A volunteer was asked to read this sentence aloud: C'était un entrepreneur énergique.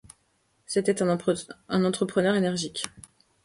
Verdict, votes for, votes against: rejected, 0, 2